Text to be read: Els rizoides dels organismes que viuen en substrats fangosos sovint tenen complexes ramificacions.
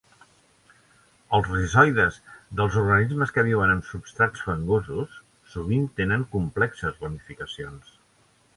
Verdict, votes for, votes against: accepted, 2, 0